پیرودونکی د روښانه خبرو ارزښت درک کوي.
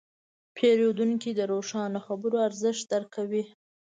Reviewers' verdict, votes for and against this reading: accepted, 2, 1